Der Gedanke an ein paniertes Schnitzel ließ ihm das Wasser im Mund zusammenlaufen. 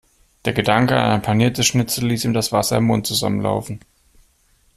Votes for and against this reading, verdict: 2, 0, accepted